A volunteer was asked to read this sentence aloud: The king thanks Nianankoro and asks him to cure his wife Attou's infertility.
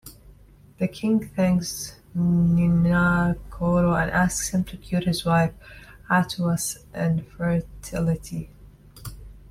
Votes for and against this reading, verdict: 2, 1, accepted